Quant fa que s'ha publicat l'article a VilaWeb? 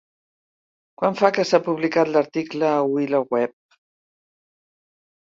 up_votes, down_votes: 0, 2